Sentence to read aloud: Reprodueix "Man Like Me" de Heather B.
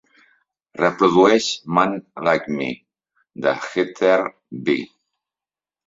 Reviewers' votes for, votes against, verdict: 2, 1, accepted